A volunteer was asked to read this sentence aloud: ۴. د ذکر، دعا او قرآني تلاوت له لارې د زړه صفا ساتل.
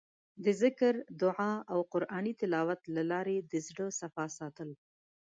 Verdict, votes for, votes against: rejected, 0, 2